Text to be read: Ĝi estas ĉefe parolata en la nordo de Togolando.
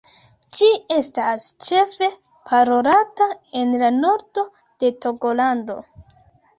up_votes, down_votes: 1, 2